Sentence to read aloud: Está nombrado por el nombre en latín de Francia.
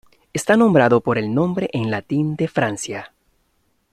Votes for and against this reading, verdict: 3, 0, accepted